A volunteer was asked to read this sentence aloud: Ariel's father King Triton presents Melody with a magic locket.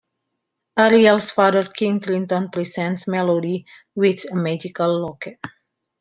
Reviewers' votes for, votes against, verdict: 1, 2, rejected